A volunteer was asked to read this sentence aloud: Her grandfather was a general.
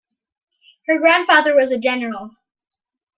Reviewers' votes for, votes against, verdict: 2, 0, accepted